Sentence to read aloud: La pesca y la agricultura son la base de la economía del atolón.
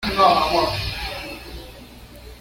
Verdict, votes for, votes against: rejected, 1, 2